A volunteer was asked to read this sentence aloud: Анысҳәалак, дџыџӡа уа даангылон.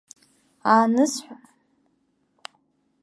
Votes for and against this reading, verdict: 0, 2, rejected